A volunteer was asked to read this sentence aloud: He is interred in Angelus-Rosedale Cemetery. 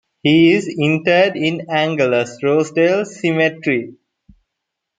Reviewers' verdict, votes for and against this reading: accepted, 2, 0